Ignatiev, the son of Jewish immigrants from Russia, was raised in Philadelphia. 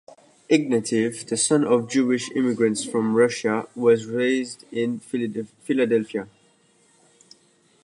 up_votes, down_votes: 0, 2